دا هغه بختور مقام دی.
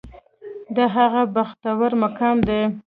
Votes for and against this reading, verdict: 1, 2, rejected